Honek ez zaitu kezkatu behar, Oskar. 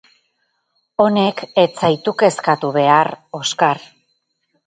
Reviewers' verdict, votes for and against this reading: rejected, 0, 4